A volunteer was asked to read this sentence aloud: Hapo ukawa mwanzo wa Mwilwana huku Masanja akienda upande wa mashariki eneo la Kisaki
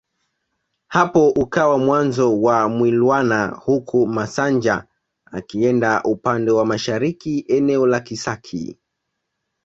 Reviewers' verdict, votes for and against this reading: accepted, 2, 0